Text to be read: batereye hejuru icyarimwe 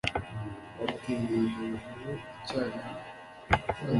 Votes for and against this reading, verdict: 1, 2, rejected